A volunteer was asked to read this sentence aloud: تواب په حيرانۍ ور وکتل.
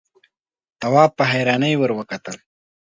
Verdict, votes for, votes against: accepted, 2, 0